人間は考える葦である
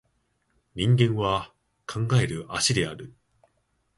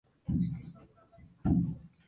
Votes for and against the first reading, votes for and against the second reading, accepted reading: 2, 0, 0, 4, first